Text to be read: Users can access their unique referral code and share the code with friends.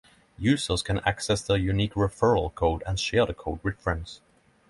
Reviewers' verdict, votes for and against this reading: accepted, 3, 0